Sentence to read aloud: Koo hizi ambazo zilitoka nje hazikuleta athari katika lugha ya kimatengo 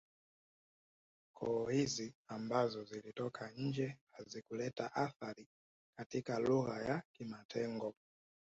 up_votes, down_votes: 2, 1